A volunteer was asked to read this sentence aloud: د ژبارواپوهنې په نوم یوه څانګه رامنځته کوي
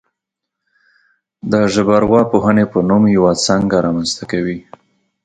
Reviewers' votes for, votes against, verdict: 2, 0, accepted